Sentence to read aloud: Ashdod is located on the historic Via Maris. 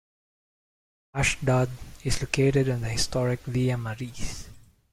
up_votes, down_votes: 1, 2